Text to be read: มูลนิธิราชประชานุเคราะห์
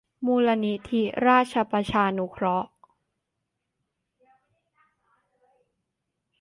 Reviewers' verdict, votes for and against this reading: accepted, 2, 0